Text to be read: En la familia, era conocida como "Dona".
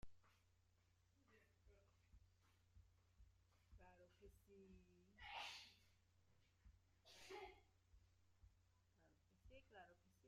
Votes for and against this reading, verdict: 0, 2, rejected